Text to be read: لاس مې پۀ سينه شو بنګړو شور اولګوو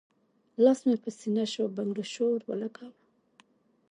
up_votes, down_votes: 2, 0